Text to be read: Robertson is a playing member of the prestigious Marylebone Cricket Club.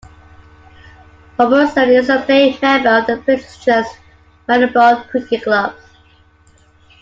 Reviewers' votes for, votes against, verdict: 0, 2, rejected